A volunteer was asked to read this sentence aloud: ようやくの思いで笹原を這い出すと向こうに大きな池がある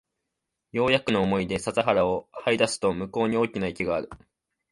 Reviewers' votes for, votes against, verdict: 2, 0, accepted